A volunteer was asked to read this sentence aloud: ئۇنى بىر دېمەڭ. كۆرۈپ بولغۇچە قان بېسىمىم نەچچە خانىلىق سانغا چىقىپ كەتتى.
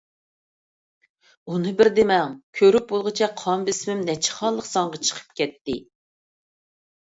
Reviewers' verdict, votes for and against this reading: accepted, 2, 0